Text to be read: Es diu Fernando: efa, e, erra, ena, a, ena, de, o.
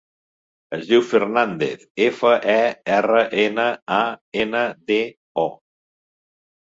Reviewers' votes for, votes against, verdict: 0, 2, rejected